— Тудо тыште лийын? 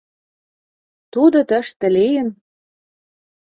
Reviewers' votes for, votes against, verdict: 2, 0, accepted